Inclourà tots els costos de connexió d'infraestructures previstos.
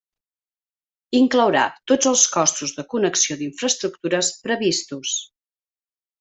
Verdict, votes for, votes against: accepted, 2, 0